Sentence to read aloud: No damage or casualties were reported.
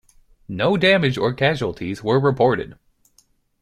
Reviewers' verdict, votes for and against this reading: accepted, 2, 0